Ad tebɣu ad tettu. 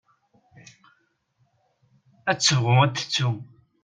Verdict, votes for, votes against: accepted, 2, 0